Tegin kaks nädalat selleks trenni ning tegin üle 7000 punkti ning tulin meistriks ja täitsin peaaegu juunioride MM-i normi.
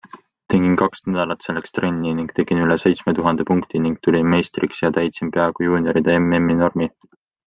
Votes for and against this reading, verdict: 0, 2, rejected